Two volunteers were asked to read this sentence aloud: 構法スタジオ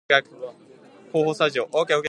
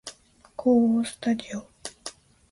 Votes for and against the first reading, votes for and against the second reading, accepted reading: 0, 2, 2, 0, second